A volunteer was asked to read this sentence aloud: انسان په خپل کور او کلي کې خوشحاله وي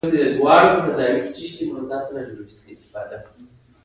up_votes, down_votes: 1, 2